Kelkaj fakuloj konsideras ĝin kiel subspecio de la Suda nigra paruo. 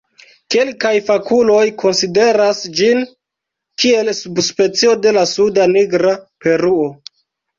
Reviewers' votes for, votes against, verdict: 0, 2, rejected